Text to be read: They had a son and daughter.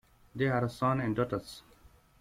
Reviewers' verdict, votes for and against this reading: rejected, 1, 2